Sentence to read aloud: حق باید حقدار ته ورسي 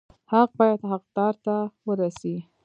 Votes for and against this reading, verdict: 1, 2, rejected